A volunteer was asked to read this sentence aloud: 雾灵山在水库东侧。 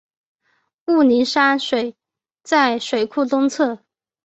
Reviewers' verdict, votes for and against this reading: rejected, 0, 2